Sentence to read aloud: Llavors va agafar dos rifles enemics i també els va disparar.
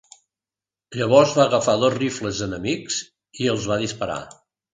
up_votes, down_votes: 0, 3